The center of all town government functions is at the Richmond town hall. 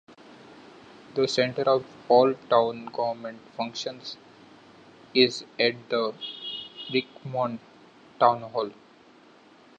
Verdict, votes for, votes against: accepted, 2, 1